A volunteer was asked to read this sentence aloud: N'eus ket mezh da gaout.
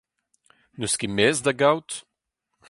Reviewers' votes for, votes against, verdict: 4, 0, accepted